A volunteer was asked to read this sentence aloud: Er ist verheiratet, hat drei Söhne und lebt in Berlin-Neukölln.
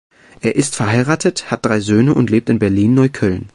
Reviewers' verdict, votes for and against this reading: accepted, 2, 0